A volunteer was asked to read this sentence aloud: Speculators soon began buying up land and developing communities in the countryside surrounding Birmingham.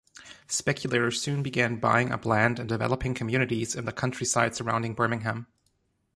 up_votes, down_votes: 3, 0